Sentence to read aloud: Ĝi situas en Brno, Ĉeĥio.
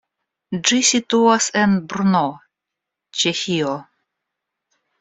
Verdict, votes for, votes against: rejected, 0, 2